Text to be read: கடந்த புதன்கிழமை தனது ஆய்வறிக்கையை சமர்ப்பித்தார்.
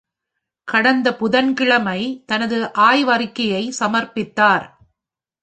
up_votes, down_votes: 2, 0